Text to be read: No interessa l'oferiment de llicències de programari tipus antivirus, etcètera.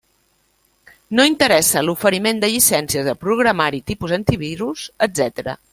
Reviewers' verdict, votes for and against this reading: rejected, 1, 2